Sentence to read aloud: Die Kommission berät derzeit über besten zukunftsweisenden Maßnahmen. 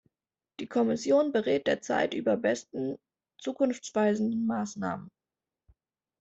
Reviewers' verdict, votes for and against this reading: accepted, 2, 0